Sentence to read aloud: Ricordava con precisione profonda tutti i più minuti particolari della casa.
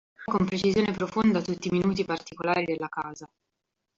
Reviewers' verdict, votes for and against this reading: rejected, 0, 2